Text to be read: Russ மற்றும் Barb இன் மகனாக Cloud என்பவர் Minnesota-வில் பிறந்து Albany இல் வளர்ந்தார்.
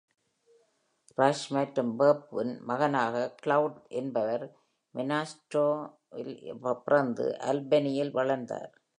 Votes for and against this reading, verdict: 0, 2, rejected